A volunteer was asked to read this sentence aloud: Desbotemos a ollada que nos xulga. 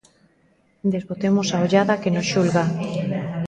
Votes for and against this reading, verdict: 1, 2, rejected